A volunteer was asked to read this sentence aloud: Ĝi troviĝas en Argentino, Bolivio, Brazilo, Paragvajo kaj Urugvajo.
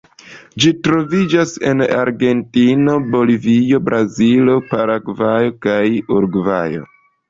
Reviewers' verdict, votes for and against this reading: accepted, 2, 0